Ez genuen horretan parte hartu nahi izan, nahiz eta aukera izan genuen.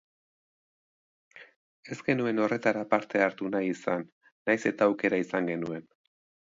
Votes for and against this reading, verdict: 1, 2, rejected